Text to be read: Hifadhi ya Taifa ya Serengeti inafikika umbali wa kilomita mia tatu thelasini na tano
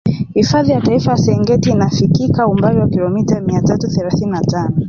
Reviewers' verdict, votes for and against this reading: rejected, 1, 3